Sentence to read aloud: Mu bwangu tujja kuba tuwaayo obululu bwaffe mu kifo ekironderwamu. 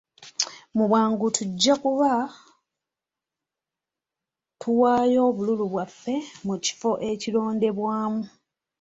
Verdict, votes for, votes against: accepted, 2, 1